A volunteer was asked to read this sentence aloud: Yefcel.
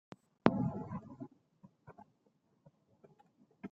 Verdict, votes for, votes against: rejected, 1, 2